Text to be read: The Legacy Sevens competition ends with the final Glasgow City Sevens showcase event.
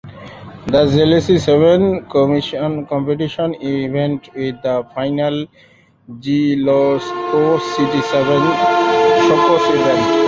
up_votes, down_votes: 0, 2